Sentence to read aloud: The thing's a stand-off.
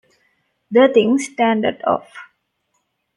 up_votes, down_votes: 0, 2